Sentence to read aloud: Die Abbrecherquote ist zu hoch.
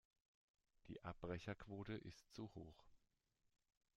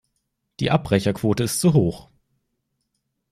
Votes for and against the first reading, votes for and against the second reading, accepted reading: 0, 2, 2, 0, second